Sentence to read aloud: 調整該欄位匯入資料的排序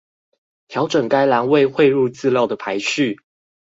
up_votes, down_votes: 2, 2